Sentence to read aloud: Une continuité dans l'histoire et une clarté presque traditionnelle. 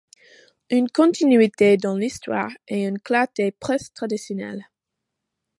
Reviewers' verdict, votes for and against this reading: accepted, 2, 0